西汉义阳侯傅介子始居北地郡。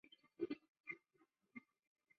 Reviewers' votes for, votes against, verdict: 0, 2, rejected